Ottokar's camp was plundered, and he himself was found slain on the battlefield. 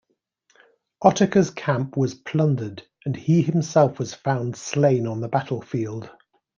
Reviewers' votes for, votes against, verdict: 2, 0, accepted